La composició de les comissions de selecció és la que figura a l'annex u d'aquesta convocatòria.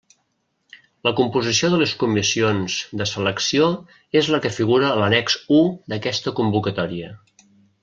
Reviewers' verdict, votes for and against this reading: accepted, 2, 0